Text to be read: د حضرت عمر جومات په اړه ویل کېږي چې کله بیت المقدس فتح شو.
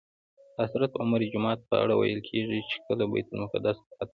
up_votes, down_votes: 1, 2